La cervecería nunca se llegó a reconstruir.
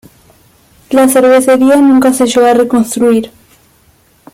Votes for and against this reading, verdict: 2, 0, accepted